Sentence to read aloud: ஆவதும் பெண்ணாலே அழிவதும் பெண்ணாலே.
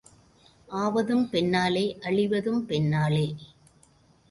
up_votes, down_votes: 1, 2